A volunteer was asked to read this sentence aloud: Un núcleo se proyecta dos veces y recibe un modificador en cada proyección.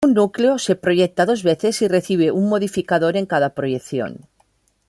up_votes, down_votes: 0, 2